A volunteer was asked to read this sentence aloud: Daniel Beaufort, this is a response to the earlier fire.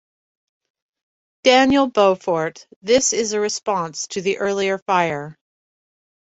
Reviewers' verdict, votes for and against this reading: accepted, 2, 0